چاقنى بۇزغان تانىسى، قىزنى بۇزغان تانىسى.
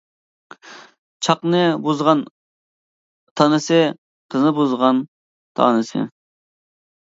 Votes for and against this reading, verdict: 2, 0, accepted